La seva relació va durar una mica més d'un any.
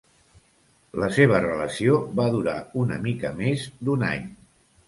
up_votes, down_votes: 2, 0